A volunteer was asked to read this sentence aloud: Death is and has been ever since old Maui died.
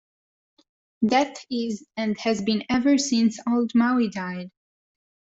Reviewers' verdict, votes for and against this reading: accepted, 2, 0